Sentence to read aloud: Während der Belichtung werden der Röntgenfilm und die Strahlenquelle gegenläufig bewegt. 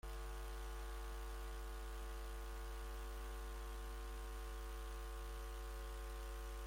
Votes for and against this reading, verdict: 0, 2, rejected